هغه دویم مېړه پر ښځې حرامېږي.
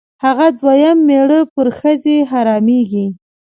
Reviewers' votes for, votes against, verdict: 2, 0, accepted